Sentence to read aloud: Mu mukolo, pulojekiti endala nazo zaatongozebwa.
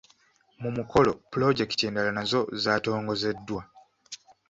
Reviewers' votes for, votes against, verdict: 0, 2, rejected